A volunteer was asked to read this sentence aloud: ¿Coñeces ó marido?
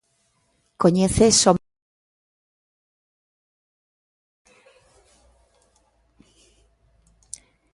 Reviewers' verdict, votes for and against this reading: rejected, 0, 2